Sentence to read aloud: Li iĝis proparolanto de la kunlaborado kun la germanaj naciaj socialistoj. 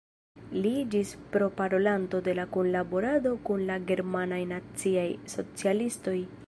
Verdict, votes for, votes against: accepted, 2, 0